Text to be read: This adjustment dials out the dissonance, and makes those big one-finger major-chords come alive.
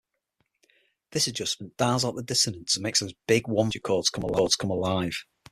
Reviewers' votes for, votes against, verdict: 0, 6, rejected